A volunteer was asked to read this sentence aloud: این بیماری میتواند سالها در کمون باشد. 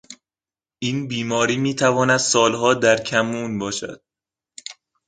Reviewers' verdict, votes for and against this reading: rejected, 1, 2